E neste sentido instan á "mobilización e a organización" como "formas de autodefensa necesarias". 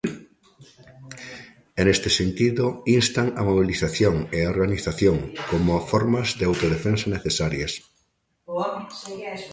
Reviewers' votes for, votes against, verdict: 1, 2, rejected